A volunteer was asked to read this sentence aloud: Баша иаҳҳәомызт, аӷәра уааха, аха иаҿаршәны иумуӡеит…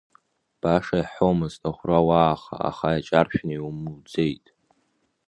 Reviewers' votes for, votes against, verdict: 1, 2, rejected